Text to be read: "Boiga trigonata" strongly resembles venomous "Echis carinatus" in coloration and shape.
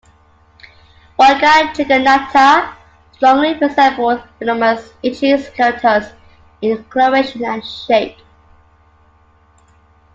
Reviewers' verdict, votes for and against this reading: rejected, 0, 3